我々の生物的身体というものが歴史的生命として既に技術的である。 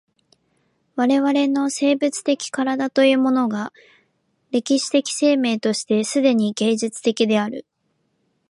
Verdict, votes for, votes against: rejected, 0, 2